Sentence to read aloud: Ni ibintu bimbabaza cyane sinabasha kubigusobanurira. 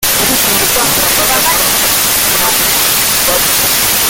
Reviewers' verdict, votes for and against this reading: rejected, 0, 2